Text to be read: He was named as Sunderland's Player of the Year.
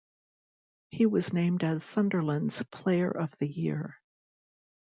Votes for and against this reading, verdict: 2, 0, accepted